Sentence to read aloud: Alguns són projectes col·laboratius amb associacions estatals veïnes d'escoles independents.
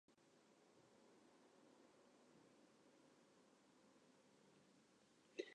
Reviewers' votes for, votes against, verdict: 0, 2, rejected